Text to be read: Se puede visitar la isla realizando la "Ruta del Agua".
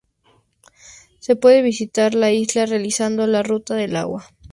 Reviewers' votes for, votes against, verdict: 2, 0, accepted